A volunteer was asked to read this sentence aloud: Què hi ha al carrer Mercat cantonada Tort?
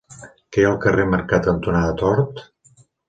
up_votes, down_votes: 3, 0